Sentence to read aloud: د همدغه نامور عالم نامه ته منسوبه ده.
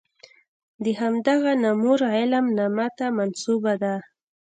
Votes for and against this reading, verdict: 1, 2, rejected